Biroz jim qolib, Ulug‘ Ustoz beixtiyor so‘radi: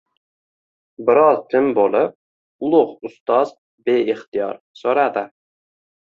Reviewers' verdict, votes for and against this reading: rejected, 1, 2